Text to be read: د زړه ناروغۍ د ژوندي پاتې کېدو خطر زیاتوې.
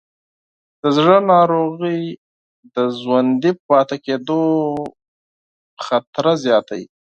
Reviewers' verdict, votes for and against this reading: rejected, 0, 4